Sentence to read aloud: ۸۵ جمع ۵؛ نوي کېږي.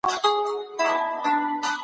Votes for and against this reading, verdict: 0, 2, rejected